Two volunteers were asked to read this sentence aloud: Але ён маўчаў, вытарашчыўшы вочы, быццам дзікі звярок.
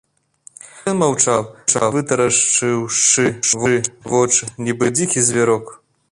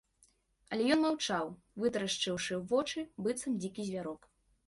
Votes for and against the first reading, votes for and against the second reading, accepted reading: 0, 2, 2, 0, second